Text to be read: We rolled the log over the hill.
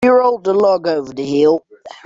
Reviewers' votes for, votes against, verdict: 1, 2, rejected